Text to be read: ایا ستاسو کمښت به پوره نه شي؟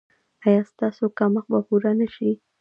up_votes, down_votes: 2, 0